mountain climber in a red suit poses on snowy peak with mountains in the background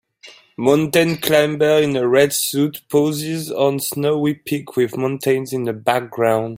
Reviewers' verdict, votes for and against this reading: rejected, 1, 2